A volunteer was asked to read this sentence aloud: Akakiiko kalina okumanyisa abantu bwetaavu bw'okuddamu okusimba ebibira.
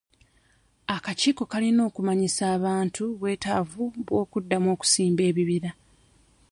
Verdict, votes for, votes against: rejected, 1, 2